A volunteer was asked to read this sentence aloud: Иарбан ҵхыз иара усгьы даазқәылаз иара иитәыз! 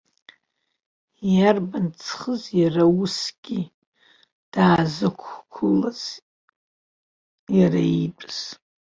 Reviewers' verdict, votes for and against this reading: accepted, 2, 0